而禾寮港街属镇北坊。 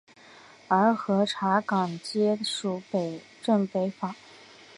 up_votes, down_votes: 2, 4